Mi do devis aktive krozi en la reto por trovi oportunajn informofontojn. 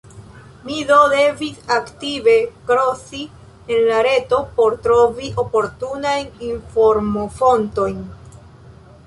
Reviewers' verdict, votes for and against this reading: rejected, 0, 2